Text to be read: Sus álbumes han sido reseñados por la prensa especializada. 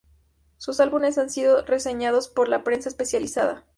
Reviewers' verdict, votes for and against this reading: rejected, 0, 2